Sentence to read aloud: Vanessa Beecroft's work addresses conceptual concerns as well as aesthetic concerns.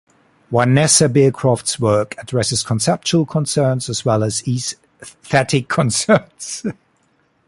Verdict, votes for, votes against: rejected, 0, 2